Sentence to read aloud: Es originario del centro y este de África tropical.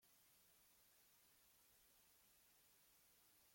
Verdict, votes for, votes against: rejected, 0, 2